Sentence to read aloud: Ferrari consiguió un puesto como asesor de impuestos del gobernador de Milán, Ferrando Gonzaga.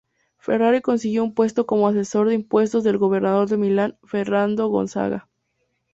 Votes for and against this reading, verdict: 2, 0, accepted